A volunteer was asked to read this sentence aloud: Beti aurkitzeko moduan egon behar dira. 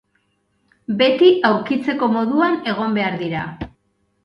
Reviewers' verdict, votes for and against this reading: accepted, 5, 0